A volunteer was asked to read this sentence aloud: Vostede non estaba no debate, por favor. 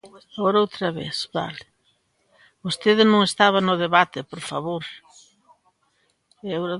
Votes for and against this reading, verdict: 0, 2, rejected